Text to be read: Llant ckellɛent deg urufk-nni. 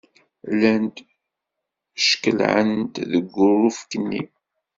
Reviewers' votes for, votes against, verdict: 1, 2, rejected